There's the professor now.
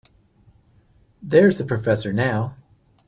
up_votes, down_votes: 2, 0